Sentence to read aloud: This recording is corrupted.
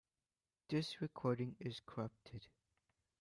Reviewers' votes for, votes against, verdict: 2, 0, accepted